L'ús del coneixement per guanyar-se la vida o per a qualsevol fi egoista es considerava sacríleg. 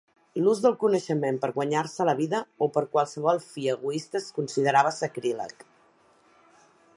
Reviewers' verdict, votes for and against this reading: accepted, 2, 0